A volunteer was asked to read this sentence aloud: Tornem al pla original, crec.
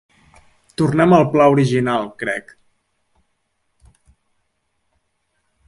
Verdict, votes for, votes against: accepted, 2, 0